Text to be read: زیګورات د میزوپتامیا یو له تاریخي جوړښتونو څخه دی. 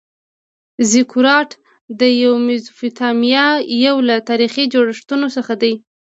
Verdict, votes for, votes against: rejected, 1, 2